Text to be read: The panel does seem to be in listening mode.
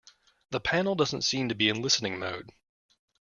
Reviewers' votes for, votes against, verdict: 0, 2, rejected